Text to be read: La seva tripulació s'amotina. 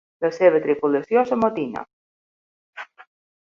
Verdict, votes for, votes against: accepted, 4, 0